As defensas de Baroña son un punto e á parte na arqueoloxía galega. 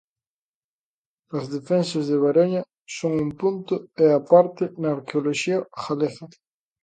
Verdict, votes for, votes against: accepted, 2, 0